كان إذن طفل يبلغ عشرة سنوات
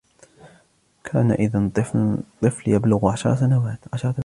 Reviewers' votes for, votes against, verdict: 0, 2, rejected